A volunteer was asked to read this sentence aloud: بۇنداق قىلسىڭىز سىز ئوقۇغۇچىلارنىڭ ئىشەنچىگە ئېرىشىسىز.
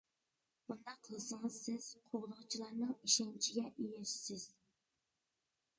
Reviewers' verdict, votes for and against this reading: rejected, 0, 2